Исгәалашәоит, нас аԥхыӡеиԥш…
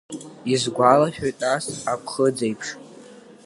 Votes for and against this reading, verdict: 2, 0, accepted